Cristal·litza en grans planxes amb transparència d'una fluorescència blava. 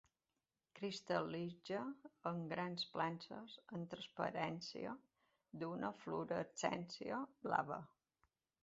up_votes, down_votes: 2, 0